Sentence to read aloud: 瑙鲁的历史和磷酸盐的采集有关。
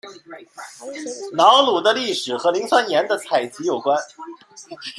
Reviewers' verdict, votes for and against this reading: accepted, 2, 0